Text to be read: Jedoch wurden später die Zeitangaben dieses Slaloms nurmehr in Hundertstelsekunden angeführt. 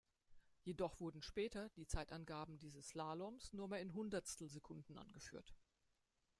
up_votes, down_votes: 1, 2